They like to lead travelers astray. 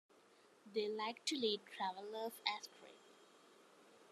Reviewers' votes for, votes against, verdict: 0, 2, rejected